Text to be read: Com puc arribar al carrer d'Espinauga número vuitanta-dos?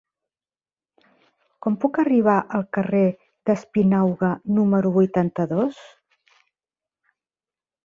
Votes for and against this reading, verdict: 3, 0, accepted